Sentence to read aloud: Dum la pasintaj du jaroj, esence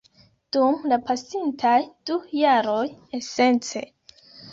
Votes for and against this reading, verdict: 2, 0, accepted